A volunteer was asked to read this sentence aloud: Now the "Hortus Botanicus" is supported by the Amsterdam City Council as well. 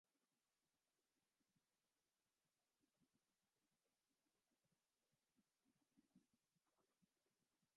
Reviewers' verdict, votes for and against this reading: rejected, 0, 3